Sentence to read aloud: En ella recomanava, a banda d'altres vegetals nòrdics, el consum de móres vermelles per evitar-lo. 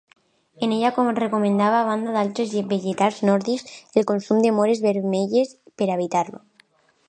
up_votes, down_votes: 1, 2